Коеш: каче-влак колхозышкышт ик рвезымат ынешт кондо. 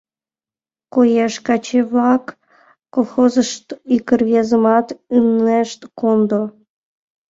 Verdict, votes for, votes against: rejected, 1, 2